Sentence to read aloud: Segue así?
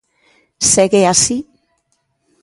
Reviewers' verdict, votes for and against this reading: accepted, 3, 0